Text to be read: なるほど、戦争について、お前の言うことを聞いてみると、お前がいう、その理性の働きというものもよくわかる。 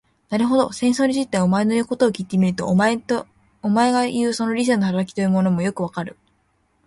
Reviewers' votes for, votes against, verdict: 0, 2, rejected